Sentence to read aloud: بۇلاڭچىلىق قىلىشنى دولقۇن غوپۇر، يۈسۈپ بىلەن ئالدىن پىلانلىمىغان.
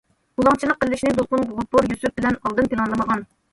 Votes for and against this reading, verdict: 1, 2, rejected